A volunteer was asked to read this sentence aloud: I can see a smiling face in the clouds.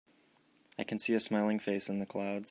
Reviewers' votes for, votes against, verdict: 2, 1, accepted